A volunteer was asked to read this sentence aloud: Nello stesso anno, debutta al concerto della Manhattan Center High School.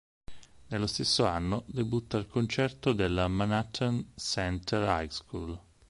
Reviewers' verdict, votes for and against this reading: accepted, 4, 0